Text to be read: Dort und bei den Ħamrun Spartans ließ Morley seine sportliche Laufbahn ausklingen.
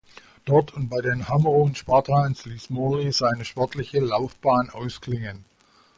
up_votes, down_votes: 1, 2